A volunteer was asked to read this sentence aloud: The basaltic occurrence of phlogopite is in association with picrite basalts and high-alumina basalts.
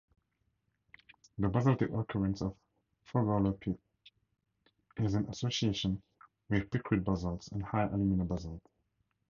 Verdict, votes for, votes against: rejected, 0, 2